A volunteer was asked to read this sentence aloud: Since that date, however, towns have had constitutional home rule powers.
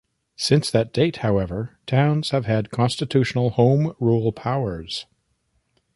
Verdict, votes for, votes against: accepted, 2, 0